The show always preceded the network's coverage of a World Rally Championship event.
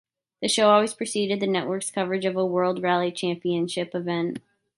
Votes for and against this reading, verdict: 2, 0, accepted